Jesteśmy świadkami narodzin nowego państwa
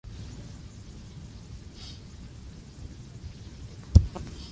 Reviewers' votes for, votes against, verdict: 0, 2, rejected